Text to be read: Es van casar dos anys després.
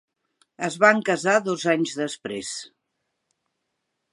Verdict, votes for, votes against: accepted, 3, 0